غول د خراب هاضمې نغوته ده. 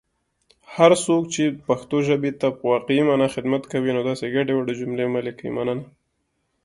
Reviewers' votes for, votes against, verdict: 0, 2, rejected